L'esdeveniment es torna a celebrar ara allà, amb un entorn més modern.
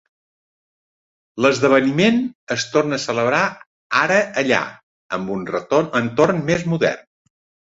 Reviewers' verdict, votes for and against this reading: rejected, 0, 2